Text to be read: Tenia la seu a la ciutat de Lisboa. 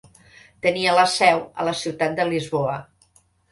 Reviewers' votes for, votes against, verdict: 2, 0, accepted